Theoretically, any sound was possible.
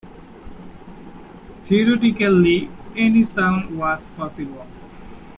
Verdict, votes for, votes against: rejected, 1, 2